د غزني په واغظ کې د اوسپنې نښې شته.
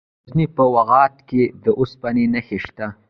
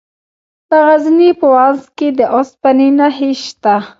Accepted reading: second